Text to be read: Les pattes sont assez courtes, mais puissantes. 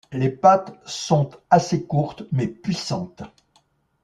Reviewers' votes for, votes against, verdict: 2, 0, accepted